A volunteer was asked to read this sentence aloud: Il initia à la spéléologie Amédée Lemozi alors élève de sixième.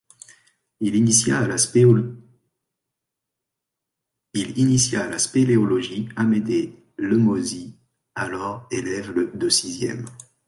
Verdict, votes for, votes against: rejected, 0, 2